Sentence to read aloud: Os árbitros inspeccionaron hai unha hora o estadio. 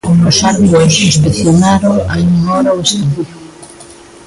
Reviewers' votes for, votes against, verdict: 0, 2, rejected